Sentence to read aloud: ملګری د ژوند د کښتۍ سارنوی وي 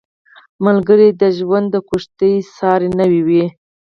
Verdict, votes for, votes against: rejected, 0, 4